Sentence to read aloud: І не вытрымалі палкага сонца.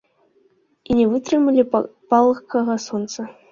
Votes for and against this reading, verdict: 1, 2, rejected